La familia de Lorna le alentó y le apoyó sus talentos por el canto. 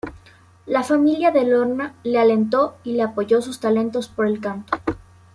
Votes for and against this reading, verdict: 2, 0, accepted